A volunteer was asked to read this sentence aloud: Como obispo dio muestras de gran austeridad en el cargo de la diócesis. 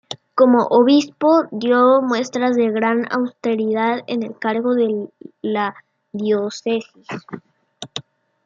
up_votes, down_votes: 0, 2